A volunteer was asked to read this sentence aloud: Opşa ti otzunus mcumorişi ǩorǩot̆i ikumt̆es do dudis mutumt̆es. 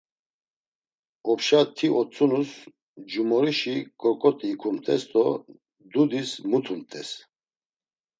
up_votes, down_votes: 2, 0